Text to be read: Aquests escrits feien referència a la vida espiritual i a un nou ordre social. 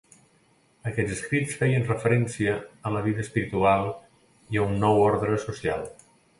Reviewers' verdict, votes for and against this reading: accepted, 2, 0